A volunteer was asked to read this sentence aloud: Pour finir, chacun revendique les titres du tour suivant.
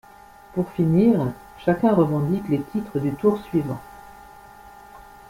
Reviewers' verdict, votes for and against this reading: rejected, 1, 2